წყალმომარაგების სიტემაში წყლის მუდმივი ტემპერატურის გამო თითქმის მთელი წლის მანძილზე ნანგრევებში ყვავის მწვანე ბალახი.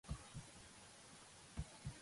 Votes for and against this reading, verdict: 0, 2, rejected